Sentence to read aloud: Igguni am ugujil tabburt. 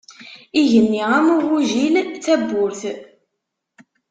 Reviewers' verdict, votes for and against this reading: rejected, 1, 2